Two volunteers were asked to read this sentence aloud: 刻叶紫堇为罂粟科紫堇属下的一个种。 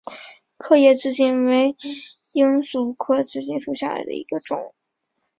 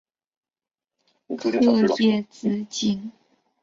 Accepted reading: first